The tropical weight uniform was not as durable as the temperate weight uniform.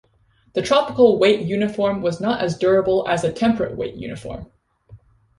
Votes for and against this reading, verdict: 0, 2, rejected